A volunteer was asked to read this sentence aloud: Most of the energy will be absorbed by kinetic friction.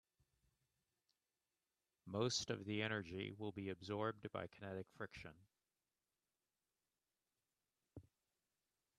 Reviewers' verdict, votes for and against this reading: accepted, 2, 1